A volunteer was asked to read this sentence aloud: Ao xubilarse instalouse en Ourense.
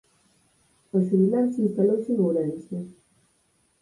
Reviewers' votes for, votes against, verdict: 4, 2, accepted